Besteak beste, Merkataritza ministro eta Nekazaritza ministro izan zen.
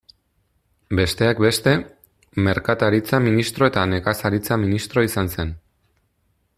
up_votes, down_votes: 2, 0